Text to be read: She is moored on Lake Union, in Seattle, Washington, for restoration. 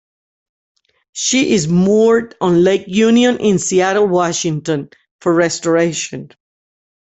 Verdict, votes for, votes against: rejected, 1, 2